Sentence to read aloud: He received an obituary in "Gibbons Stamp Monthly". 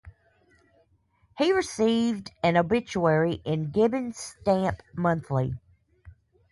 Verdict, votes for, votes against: accepted, 4, 0